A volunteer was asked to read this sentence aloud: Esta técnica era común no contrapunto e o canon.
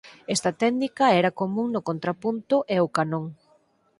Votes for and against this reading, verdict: 0, 4, rejected